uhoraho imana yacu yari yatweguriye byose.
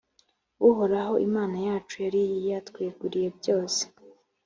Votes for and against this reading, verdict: 2, 0, accepted